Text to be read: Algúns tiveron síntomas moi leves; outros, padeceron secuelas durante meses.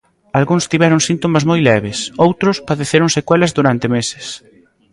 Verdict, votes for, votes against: rejected, 0, 2